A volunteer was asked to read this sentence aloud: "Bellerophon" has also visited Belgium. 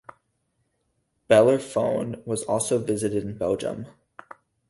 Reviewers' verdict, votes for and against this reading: rejected, 2, 4